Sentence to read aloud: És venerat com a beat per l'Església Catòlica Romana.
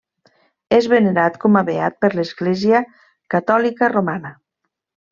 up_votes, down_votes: 3, 0